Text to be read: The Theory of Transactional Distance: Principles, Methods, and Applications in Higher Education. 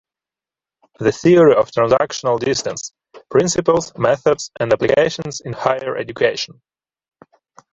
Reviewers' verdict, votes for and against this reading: rejected, 0, 2